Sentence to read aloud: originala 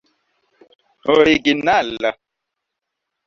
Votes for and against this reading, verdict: 1, 2, rejected